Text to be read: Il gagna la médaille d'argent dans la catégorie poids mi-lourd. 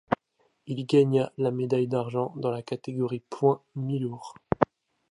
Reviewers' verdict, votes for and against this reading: accepted, 2, 0